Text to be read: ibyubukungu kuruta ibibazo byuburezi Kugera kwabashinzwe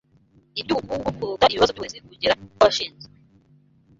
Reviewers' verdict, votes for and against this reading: rejected, 0, 2